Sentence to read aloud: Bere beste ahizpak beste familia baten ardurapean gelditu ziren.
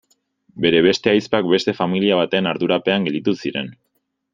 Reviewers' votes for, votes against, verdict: 2, 0, accepted